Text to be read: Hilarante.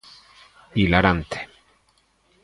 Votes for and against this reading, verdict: 2, 0, accepted